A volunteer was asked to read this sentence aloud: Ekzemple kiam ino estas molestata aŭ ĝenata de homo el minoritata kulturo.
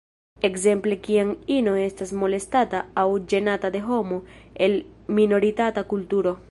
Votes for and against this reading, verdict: 1, 2, rejected